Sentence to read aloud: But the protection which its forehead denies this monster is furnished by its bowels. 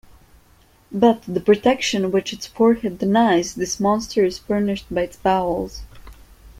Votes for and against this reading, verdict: 2, 1, accepted